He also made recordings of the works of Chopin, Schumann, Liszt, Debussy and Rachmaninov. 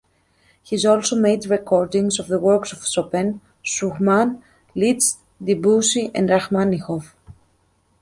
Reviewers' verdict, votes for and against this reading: accepted, 2, 1